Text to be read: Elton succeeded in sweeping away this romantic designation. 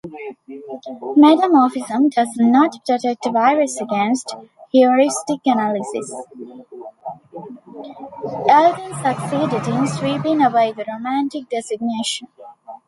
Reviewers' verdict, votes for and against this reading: rejected, 0, 2